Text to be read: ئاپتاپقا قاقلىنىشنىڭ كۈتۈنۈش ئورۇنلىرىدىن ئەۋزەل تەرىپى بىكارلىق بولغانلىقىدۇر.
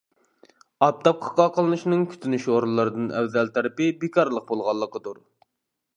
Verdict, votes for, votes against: accepted, 2, 0